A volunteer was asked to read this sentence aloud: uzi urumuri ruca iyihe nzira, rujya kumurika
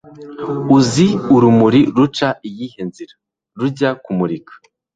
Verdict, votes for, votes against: accepted, 2, 0